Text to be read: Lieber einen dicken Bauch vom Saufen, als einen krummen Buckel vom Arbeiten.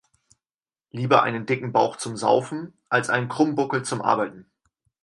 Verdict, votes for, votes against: rejected, 0, 4